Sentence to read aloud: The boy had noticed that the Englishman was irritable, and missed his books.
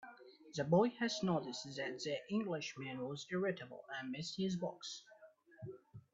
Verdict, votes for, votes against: rejected, 1, 2